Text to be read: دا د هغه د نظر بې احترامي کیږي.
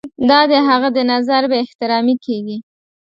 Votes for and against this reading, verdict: 2, 0, accepted